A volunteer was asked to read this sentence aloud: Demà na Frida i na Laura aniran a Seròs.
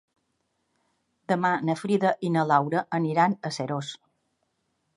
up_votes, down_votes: 3, 1